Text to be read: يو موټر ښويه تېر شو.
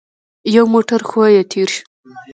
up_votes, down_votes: 2, 0